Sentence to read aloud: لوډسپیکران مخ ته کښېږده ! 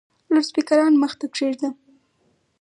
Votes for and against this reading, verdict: 4, 0, accepted